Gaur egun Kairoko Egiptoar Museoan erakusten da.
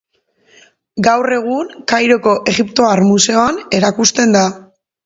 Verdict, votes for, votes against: accepted, 2, 0